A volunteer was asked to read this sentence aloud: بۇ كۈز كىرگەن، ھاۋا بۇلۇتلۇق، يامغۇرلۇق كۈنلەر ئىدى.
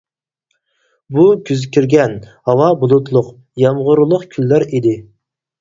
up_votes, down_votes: 4, 0